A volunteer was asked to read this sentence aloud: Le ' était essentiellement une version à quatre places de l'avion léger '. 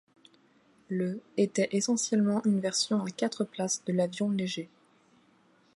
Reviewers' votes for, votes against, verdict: 2, 0, accepted